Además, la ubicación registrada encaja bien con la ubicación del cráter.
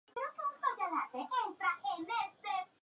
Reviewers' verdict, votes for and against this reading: rejected, 0, 4